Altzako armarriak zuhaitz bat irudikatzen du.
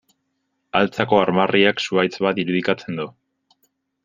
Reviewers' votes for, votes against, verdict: 2, 0, accepted